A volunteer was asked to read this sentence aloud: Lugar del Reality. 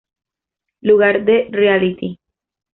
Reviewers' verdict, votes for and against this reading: accepted, 2, 1